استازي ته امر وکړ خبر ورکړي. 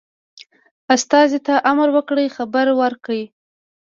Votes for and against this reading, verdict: 2, 0, accepted